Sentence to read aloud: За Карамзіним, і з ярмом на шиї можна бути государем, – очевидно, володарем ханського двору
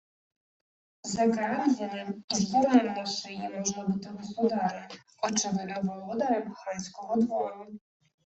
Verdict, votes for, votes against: rejected, 1, 2